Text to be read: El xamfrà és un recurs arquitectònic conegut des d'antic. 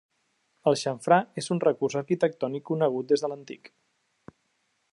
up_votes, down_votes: 1, 2